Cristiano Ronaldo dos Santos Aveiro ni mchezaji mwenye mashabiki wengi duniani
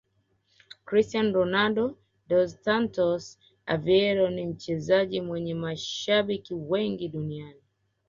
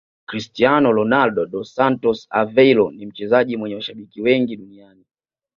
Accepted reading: first